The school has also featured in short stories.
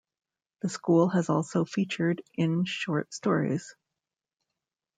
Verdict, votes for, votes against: rejected, 1, 2